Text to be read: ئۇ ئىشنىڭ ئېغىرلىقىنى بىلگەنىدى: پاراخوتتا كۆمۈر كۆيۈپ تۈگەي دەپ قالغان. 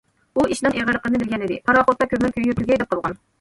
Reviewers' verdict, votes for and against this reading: rejected, 1, 2